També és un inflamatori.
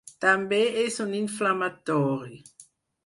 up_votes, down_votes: 4, 0